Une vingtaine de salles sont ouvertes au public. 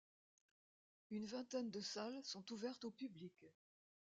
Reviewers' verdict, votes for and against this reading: rejected, 1, 2